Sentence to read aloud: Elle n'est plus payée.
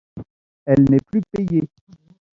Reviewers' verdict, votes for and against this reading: accepted, 2, 0